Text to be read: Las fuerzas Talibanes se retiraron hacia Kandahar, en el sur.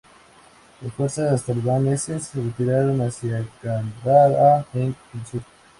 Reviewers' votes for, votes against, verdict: 0, 2, rejected